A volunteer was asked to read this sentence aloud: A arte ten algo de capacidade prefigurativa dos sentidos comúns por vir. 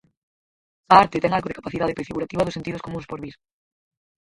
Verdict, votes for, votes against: rejected, 0, 4